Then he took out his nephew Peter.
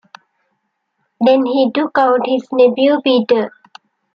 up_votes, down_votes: 2, 0